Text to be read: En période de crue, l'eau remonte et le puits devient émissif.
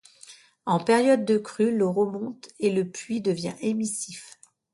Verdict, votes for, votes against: accepted, 2, 0